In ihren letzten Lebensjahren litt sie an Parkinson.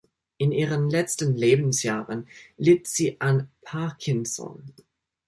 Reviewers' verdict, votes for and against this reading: accepted, 2, 0